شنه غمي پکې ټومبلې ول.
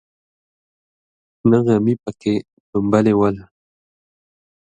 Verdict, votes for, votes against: rejected, 1, 2